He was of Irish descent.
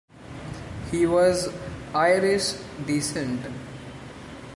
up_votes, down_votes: 0, 2